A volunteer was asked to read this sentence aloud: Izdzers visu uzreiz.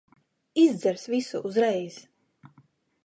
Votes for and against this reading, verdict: 2, 0, accepted